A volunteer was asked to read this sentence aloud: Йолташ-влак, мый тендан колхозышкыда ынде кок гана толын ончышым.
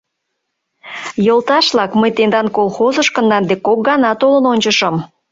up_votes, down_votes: 1, 2